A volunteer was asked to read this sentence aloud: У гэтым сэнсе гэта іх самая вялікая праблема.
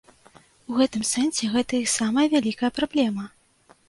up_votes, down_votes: 2, 0